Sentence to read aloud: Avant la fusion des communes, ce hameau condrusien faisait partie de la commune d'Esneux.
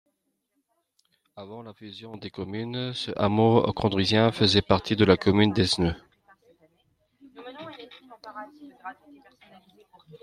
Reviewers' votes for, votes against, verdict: 1, 2, rejected